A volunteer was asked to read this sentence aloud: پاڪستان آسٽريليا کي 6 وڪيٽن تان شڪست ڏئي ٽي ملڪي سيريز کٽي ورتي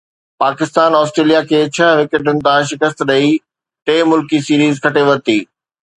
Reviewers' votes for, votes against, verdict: 0, 2, rejected